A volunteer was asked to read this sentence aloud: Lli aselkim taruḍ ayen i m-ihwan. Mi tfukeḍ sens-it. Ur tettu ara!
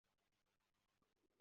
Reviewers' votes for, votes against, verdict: 0, 2, rejected